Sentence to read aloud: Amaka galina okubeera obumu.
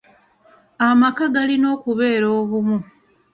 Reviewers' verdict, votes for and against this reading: accepted, 2, 0